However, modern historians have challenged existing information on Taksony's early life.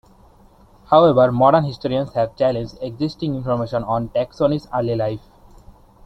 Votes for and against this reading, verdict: 3, 2, accepted